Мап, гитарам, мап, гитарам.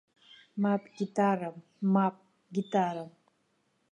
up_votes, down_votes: 2, 0